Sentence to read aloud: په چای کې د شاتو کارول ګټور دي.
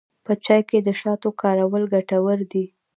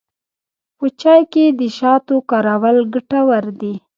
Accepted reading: first